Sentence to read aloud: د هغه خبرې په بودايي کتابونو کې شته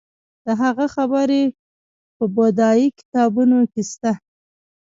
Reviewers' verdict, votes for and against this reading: accepted, 2, 0